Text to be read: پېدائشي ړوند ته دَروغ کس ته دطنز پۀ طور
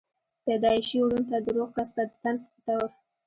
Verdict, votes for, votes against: rejected, 1, 2